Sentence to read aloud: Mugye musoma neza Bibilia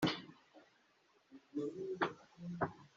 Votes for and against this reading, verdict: 0, 2, rejected